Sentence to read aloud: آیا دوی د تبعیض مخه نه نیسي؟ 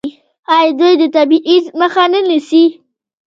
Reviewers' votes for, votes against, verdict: 1, 2, rejected